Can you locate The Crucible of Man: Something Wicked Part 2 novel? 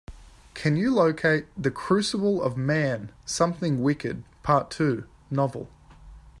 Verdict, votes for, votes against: rejected, 0, 2